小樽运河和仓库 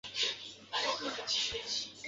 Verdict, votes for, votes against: rejected, 0, 2